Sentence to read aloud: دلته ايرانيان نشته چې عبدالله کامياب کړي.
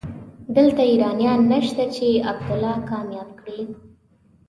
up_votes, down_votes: 3, 0